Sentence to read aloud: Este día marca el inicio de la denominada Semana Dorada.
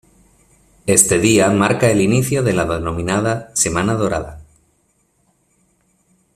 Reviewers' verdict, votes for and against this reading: rejected, 1, 2